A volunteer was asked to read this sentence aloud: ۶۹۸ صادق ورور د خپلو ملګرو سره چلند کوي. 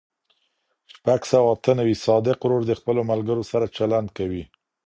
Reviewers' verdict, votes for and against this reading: rejected, 0, 2